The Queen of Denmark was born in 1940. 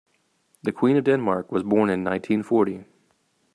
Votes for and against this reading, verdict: 0, 2, rejected